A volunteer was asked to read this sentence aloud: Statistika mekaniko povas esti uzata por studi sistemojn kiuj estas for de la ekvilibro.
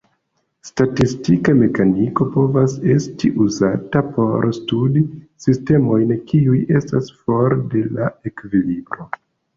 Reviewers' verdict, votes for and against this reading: accepted, 2, 1